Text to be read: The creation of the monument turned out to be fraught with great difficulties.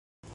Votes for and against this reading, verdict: 0, 2, rejected